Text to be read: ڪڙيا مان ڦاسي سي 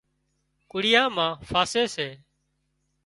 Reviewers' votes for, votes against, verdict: 2, 0, accepted